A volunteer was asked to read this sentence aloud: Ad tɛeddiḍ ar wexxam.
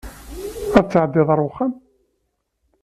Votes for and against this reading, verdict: 2, 0, accepted